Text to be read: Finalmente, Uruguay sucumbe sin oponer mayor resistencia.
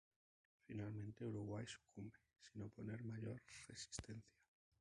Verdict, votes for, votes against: rejected, 0, 2